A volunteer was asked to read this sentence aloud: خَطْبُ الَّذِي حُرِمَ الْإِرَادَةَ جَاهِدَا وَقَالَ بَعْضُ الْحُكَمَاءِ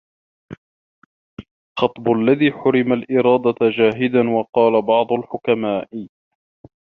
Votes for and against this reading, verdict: 1, 2, rejected